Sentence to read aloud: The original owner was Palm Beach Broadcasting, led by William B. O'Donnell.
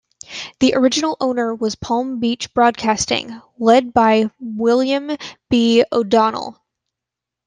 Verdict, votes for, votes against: accepted, 2, 0